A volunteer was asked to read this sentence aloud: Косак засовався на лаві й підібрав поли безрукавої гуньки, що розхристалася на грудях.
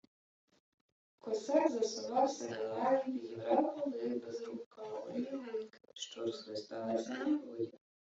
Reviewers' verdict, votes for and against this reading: rejected, 0, 2